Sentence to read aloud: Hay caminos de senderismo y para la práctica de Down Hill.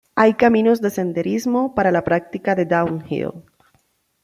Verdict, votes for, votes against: rejected, 0, 2